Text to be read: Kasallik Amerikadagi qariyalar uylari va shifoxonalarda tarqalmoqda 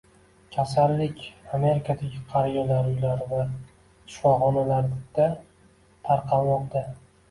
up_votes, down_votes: 0, 2